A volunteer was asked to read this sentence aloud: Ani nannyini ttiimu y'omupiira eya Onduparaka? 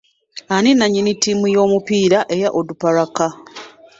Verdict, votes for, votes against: accepted, 2, 1